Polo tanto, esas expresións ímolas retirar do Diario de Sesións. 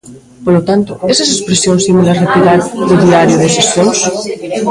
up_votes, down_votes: 0, 2